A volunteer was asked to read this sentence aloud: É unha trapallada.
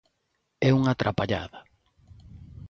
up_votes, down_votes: 2, 0